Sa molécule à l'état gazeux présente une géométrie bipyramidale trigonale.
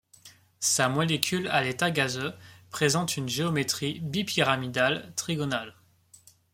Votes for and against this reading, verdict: 2, 0, accepted